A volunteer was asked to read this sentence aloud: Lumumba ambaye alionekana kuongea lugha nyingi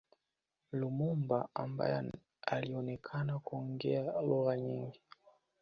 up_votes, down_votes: 2, 0